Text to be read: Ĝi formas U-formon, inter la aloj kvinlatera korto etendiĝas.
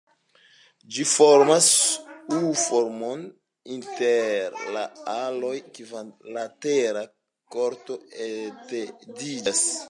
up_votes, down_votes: 2, 1